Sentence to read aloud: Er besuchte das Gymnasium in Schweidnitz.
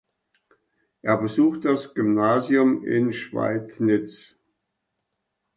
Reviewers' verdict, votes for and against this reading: accepted, 2, 0